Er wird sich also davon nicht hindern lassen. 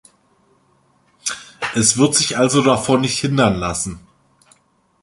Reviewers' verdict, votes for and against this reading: rejected, 0, 2